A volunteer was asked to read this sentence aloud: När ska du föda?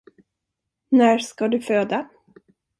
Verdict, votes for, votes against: accepted, 2, 0